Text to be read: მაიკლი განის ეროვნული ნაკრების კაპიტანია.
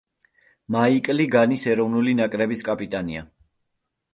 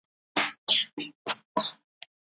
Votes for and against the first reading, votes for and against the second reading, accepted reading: 2, 0, 0, 2, first